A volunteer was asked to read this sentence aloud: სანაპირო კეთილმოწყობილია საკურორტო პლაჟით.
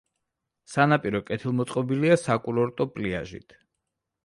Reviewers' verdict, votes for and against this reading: rejected, 0, 2